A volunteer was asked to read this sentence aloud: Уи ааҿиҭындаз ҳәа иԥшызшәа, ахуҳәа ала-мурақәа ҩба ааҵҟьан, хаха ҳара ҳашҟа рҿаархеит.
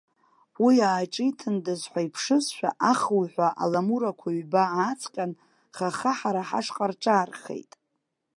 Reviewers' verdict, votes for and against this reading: rejected, 1, 2